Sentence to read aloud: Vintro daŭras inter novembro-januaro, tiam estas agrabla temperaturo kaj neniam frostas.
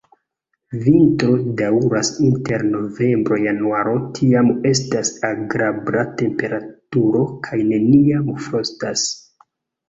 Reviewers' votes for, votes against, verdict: 2, 1, accepted